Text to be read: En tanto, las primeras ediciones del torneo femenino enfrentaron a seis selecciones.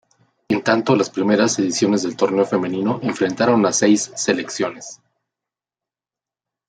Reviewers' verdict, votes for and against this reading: accepted, 2, 0